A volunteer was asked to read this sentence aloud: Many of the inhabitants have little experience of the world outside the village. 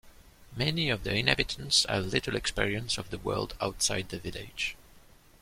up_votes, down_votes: 2, 0